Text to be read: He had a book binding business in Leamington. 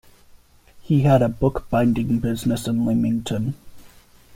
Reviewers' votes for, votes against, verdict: 2, 0, accepted